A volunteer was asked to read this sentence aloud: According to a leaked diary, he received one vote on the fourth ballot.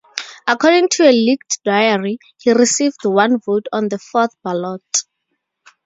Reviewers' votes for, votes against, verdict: 10, 2, accepted